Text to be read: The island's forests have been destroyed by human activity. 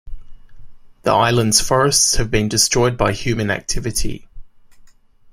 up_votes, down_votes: 2, 0